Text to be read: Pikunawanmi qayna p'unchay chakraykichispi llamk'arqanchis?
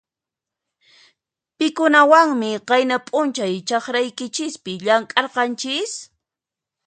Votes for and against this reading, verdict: 2, 0, accepted